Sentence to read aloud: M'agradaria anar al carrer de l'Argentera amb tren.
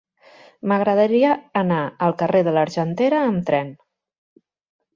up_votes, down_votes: 3, 0